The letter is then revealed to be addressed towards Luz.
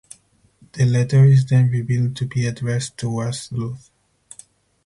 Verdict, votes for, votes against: rejected, 2, 4